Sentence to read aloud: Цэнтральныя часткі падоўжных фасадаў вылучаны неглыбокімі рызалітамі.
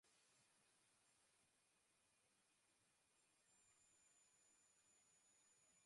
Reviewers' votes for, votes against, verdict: 0, 2, rejected